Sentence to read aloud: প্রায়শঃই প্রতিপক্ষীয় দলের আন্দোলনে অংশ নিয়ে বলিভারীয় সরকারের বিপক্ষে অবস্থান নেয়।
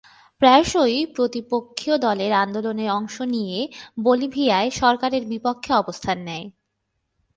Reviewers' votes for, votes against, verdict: 0, 2, rejected